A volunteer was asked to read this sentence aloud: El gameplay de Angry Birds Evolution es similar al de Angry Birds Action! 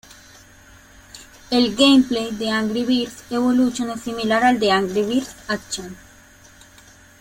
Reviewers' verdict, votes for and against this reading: accepted, 2, 1